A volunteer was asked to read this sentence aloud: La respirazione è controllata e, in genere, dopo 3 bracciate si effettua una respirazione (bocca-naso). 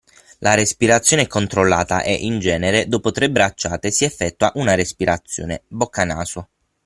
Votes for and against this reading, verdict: 0, 2, rejected